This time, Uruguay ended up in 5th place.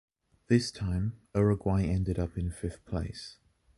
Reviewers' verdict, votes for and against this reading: rejected, 0, 2